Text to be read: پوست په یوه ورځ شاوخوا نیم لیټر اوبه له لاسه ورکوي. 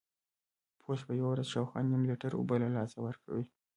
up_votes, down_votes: 1, 2